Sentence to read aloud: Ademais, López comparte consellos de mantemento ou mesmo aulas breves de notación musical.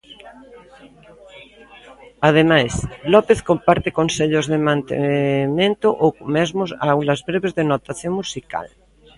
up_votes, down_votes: 2, 0